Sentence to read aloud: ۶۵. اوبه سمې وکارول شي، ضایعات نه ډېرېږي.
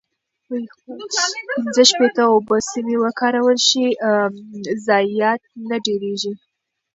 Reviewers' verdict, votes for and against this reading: rejected, 0, 2